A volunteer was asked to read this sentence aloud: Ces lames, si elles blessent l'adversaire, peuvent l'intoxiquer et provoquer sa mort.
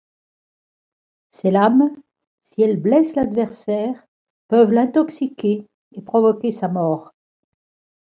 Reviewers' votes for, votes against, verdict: 2, 0, accepted